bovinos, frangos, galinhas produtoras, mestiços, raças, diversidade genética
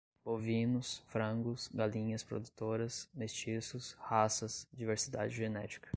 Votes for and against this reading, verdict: 2, 0, accepted